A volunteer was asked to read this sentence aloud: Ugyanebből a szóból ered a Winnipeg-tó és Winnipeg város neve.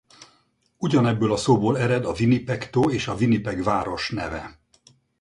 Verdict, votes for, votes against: rejected, 2, 2